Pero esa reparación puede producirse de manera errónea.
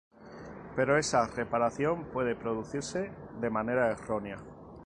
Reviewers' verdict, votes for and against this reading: accepted, 2, 0